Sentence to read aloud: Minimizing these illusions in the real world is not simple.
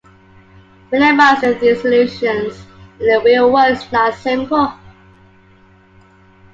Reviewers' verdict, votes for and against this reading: accepted, 2, 1